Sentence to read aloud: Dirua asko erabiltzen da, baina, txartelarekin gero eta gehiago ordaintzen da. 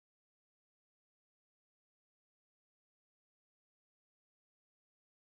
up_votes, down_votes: 0, 3